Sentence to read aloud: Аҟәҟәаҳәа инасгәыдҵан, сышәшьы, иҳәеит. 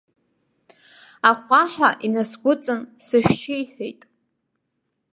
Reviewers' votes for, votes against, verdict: 1, 2, rejected